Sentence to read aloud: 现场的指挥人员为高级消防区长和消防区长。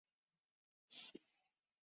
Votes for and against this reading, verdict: 0, 3, rejected